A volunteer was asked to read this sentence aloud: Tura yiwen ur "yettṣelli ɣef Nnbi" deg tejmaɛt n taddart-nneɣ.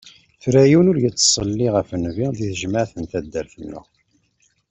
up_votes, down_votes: 2, 0